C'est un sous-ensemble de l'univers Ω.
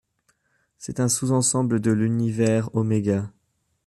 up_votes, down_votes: 2, 0